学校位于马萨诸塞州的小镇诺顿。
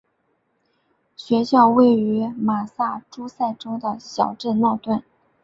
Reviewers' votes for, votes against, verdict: 3, 0, accepted